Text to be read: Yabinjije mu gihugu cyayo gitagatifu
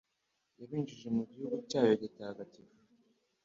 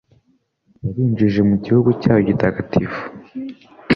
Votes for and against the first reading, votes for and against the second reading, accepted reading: 1, 2, 2, 0, second